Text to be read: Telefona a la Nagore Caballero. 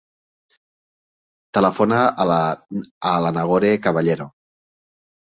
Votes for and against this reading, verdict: 1, 2, rejected